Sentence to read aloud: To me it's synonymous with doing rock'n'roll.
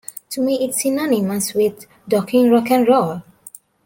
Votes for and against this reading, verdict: 1, 2, rejected